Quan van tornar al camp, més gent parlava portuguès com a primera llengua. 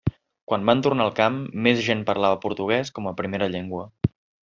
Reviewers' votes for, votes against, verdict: 3, 0, accepted